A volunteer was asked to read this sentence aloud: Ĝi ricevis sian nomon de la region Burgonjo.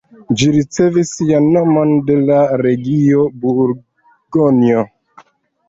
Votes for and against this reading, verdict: 1, 2, rejected